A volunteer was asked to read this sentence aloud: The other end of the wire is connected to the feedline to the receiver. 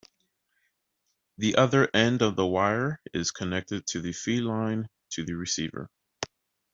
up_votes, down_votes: 0, 2